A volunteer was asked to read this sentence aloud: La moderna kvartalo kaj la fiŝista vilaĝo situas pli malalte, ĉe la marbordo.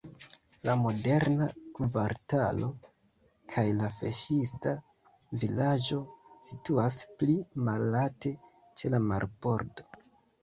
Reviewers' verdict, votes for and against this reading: rejected, 0, 2